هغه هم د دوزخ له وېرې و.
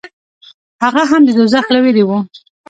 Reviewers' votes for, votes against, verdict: 2, 0, accepted